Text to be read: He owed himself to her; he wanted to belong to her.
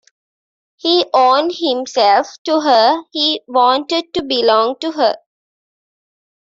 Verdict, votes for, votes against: rejected, 1, 2